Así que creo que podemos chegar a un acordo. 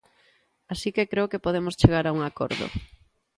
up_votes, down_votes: 2, 0